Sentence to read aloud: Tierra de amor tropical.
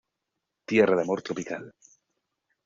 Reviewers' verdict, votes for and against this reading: rejected, 1, 2